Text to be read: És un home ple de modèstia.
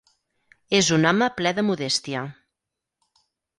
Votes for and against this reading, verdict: 6, 0, accepted